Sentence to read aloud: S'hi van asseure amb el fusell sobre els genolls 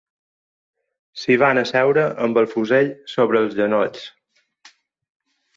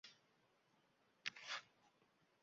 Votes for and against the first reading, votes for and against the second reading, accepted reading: 4, 0, 0, 3, first